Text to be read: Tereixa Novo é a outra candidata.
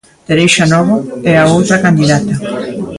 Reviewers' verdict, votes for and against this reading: accepted, 2, 0